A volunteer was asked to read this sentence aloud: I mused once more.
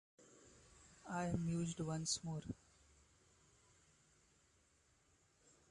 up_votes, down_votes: 0, 2